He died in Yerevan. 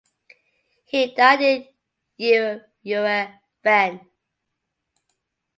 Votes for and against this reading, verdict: 0, 2, rejected